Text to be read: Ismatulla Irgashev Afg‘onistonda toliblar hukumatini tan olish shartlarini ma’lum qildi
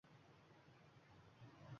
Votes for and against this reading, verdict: 0, 2, rejected